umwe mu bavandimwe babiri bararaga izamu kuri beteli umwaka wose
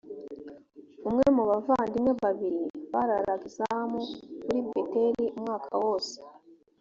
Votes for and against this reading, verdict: 3, 0, accepted